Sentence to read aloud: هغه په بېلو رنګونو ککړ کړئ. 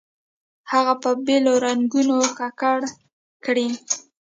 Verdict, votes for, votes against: rejected, 0, 2